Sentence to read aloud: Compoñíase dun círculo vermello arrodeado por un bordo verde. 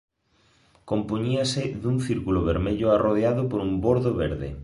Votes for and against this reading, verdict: 2, 0, accepted